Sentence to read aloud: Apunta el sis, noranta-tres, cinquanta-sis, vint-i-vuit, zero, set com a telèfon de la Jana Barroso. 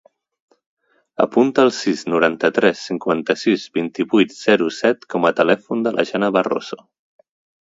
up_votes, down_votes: 2, 0